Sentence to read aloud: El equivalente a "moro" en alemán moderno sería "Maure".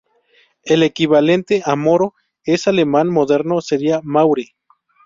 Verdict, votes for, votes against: rejected, 0, 2